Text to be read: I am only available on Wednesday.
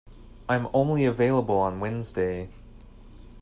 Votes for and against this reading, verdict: 2, 0, accepted